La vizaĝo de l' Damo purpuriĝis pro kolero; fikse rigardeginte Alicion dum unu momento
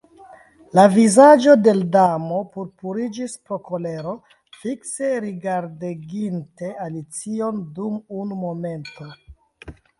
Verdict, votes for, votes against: accepted, 3, 0